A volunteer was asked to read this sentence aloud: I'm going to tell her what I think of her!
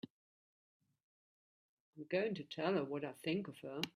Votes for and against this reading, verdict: 2, 0, accepted